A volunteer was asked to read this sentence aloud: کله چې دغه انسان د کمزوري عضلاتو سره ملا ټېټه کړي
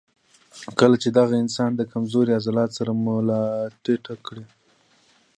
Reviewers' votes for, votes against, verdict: 1, 2, rejected